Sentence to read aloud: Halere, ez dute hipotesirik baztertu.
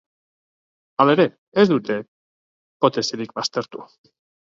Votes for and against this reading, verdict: 1, 3, rejected